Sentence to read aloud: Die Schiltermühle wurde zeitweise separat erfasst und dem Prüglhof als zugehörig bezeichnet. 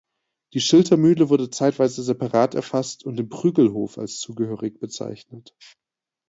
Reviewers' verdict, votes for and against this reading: accepted, 2, 0